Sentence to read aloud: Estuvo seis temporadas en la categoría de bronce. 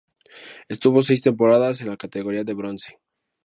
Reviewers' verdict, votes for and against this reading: accepted, 2, 0